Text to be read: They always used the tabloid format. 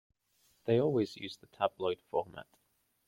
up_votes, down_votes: 2, 0